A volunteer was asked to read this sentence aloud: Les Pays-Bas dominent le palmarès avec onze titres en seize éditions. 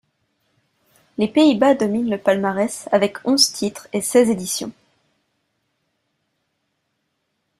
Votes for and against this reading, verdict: 1, 2, rejected